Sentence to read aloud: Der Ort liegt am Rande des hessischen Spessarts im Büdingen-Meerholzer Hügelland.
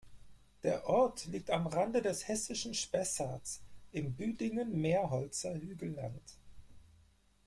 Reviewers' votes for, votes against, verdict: 4, 0, accepted